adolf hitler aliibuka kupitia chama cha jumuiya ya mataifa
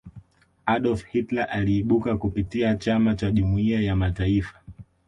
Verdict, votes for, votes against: accepted, 2, 0